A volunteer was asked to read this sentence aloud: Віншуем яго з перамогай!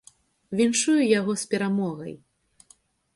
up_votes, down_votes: 0, 2